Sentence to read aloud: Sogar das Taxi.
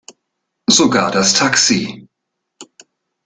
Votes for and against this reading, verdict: 2, 0, accepted